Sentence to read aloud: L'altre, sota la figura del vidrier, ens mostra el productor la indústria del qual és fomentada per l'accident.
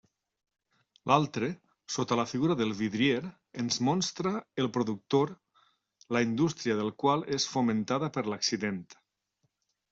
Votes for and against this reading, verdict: 0, 2, rejected